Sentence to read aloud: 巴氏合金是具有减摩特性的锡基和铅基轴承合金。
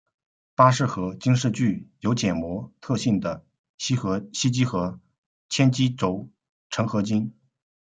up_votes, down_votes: 1, 2